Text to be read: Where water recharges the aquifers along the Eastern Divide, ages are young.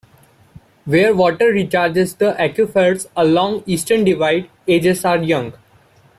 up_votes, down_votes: 1, 2